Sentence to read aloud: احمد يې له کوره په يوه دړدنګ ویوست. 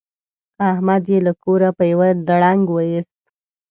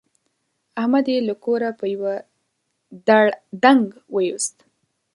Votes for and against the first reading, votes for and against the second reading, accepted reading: 2, 0, 1, 2, first